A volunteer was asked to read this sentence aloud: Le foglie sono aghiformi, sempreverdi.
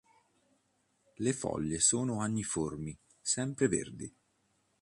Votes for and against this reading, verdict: 1, 2, rejected